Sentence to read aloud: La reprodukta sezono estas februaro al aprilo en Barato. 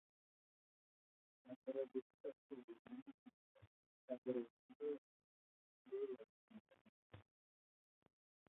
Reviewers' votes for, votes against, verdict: 0, 2, rejected